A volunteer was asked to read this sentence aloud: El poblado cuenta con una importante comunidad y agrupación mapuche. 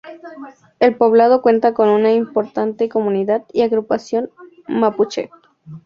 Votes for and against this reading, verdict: 4, 0, accepted